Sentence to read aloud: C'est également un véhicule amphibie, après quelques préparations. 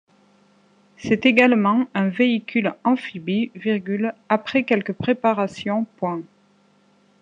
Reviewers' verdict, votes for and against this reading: rejected, 1, 2